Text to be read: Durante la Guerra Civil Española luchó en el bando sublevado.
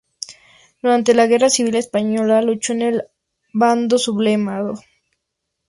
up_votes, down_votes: 0, 2